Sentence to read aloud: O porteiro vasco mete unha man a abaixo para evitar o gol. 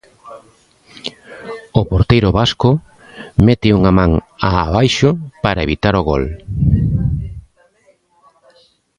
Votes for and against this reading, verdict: 0, 2, rejected